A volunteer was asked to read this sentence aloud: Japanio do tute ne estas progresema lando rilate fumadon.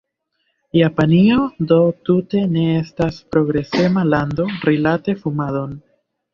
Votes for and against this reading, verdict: 1, 2, rejected